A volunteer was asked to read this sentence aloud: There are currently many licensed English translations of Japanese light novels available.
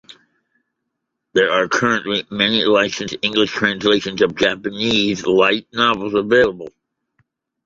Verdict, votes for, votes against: accepted, 2, 0